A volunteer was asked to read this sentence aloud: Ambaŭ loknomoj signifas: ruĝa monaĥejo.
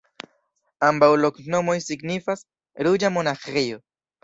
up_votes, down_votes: 2, 0